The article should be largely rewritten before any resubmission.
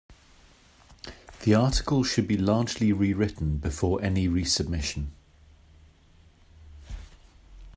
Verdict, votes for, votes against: accepted, 2, 0